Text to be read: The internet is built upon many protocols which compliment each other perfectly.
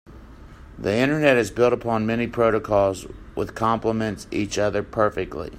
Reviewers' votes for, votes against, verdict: 0, 2, rejected